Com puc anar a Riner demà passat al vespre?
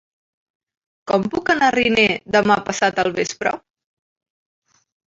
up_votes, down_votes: 2, 1